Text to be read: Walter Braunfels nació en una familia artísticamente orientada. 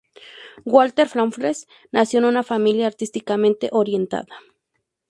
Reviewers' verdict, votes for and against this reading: rejected, 0, 2